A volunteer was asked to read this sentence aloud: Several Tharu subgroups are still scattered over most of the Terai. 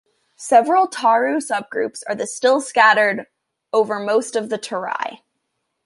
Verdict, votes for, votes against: rejected, 0, 2